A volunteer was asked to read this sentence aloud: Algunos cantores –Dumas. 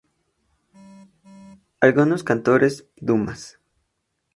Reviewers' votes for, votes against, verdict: 2, 0, accepted